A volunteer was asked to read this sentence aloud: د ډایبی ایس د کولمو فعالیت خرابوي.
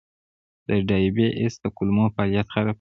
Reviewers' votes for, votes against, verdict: 1, 2, rejected